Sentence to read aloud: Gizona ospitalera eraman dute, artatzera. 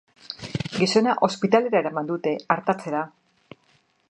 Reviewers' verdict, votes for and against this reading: accepted, 2, 0